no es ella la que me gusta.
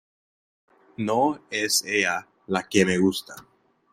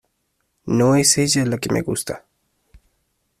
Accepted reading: second